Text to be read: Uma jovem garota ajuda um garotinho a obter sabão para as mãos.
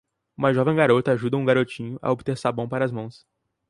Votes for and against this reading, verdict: 4, 0, accepted